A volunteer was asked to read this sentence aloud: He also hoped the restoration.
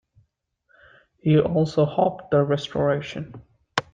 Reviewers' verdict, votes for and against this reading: accepted, 2, 1